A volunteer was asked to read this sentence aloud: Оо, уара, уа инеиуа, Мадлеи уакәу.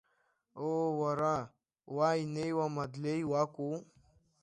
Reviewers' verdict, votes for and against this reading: rejected, 1, 2